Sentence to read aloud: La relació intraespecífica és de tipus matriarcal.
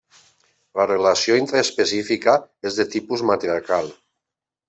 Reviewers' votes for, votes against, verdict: 2, 0, accepted